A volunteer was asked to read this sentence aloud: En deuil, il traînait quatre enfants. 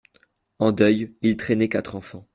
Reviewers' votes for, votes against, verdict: 2, 0, accepted